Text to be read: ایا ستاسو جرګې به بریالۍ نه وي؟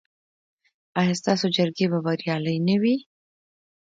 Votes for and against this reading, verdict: 2, 0, accepted